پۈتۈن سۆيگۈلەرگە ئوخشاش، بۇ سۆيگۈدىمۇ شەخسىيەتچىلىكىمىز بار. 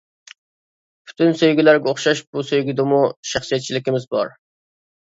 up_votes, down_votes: 2, 0